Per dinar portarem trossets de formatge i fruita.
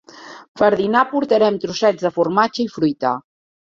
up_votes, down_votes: 3, 0